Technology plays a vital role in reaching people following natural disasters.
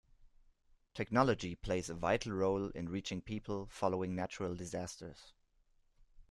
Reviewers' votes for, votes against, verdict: 2, 0, accepted